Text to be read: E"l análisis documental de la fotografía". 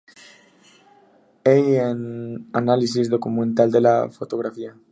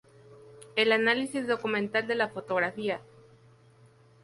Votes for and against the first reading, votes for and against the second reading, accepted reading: 0, 2, 2, 0, second